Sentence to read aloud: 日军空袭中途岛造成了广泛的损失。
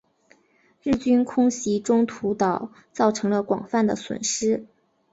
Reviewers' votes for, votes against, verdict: 2, 1, accepted